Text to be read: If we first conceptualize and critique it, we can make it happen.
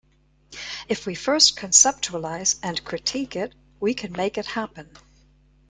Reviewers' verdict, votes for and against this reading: accepted, 2, 0